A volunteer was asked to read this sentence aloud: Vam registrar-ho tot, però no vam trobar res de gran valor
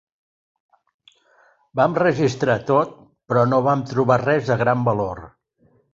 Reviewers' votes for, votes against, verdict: 0, 2, rejected